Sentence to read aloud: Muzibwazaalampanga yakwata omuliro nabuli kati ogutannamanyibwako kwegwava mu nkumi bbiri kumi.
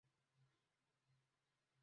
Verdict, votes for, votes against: rejected, 0, 2